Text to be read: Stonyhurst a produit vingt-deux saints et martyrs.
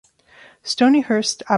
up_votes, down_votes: 0, 3